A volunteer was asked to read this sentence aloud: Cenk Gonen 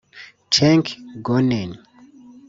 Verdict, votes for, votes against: rejected, 0, 2